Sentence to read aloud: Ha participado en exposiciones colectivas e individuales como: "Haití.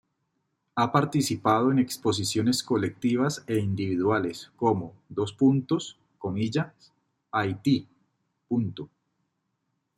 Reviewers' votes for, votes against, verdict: 2, 1, accepted